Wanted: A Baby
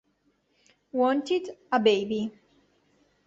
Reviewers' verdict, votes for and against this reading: accepted, 2, 0